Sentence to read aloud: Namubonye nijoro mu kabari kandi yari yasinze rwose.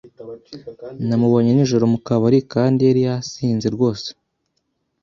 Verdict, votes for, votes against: accepted, 2, 0